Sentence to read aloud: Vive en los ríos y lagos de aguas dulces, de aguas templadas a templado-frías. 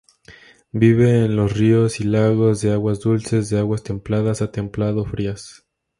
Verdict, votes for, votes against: accepted, 2, 0